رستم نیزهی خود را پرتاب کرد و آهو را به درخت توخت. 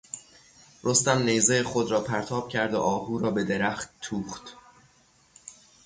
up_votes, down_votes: 3, 3